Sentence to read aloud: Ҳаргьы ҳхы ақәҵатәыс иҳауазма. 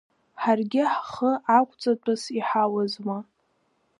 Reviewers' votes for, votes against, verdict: 1, 2, rejected